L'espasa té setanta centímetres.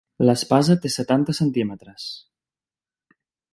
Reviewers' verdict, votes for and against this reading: accepted, 3, 0